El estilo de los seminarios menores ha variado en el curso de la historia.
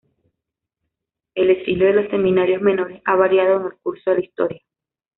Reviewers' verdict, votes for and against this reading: accepted, 2, 0